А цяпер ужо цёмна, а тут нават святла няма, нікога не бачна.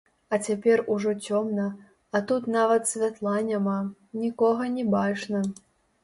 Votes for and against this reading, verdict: 0, 2, rejected